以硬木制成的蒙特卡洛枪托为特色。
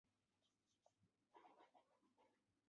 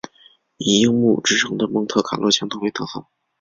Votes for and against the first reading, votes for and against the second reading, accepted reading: 3, 0, 2, 2, first